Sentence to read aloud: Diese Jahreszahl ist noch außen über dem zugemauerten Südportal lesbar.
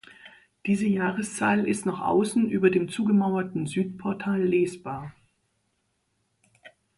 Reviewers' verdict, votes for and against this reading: accepted, 2, 0